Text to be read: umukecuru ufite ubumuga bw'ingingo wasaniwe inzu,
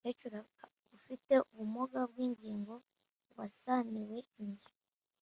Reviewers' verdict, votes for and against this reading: rejected, 0, 2